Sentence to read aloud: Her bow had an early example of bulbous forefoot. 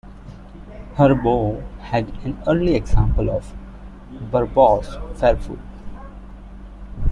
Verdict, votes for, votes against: rejected, 0, 2